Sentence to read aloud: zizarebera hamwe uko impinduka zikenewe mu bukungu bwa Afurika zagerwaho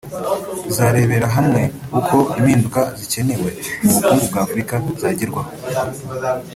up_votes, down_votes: 1, 2